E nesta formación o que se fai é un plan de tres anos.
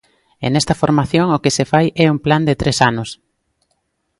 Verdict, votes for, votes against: accepted, 2, 0